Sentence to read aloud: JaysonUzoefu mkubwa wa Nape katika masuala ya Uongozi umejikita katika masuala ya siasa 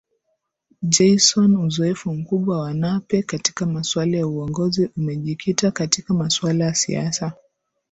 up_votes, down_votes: 9, 1